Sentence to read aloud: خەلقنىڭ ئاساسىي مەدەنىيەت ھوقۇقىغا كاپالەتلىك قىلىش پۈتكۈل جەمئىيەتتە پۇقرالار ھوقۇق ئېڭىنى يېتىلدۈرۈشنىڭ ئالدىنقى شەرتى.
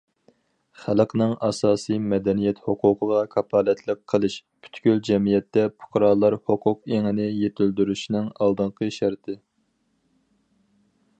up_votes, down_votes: 4, 0